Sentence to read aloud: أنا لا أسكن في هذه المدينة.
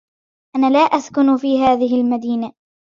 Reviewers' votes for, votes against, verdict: 2, 0, accepted